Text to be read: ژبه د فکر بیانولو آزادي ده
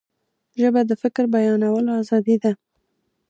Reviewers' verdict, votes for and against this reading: accepted, 2, 0